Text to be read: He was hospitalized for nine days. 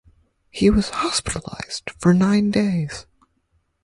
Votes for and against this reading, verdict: 4, 0, accepted